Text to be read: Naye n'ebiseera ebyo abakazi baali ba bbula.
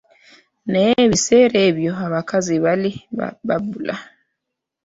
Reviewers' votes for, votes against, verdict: 0, 2, rejected